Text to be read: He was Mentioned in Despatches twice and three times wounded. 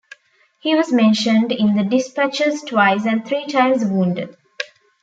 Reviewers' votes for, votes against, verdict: 2, 1, accepted